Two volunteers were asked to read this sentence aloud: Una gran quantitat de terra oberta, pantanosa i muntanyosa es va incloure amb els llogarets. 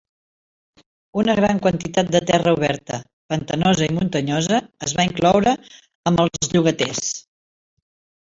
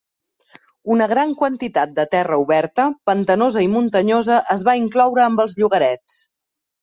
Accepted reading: second